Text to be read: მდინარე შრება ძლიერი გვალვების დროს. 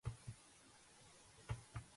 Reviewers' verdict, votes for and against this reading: rejected, 0, 2